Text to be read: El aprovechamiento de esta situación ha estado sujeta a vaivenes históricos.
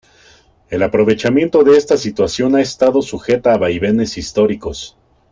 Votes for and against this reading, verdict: 2, 0, accepted